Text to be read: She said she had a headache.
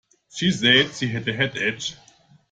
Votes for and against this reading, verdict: 0, 2, rejected